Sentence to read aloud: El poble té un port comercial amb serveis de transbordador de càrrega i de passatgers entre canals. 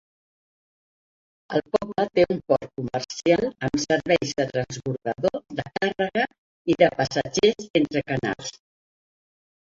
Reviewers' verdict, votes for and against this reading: rejected, 1, 3